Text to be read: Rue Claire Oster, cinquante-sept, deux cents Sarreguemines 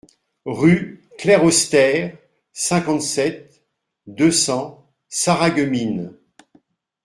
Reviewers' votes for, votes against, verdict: 1, 2, rejected